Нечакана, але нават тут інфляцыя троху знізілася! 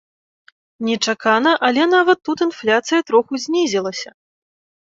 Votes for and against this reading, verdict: 2, 0, accepted